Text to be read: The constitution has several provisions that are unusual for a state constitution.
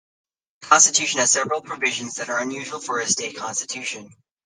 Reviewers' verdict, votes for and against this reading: accepted, 2, 0